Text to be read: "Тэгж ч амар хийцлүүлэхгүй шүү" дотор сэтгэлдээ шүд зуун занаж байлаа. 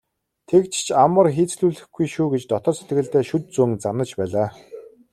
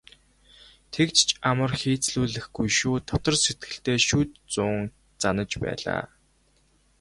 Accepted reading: first